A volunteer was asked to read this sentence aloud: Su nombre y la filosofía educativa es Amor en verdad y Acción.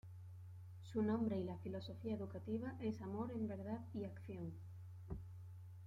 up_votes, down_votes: 1, 2